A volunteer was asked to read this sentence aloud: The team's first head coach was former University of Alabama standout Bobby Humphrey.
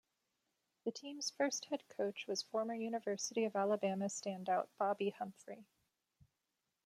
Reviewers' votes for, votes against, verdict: 2, 0, accepted